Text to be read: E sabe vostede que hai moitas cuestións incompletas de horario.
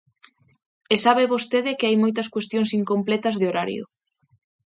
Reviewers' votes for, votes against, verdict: 2, 0, accepted